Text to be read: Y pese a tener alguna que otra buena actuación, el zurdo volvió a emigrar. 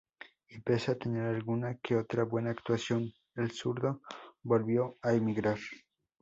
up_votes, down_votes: 0, 2